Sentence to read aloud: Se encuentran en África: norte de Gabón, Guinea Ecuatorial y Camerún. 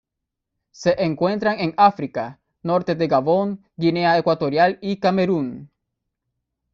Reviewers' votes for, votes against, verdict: 1, 2, rejected